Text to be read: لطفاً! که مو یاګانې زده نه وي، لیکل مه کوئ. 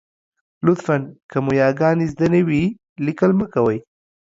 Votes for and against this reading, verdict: 2, 0, accepted